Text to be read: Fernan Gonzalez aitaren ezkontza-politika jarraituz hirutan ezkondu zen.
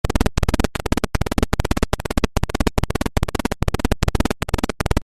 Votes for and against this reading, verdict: 0, 2, rejected